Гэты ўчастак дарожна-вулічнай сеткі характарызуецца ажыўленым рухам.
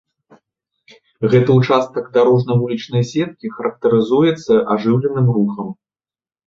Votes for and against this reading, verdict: 2, 0, accepted